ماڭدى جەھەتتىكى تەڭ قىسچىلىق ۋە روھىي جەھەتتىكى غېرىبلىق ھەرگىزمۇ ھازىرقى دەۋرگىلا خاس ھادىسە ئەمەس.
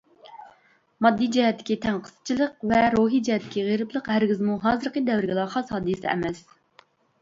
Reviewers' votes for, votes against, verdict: 1, 2, rejected